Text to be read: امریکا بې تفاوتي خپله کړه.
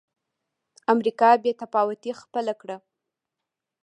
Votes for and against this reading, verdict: 2, 0, accepted